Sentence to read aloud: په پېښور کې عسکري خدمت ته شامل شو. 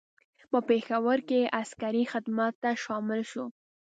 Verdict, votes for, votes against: accepted, 2, 0